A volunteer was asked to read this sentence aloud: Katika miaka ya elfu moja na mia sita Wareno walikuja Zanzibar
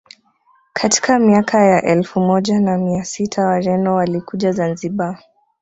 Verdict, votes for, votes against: accepted, 2, 0